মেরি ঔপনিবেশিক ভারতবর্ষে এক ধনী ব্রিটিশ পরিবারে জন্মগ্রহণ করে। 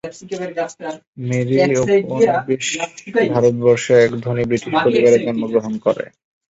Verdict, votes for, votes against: rejected, 0, 2